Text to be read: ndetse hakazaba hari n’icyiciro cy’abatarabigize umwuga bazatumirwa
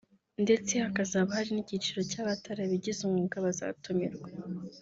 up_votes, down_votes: 1, 2